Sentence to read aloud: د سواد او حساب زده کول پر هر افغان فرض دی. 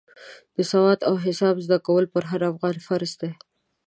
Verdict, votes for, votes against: accepted, 2, 0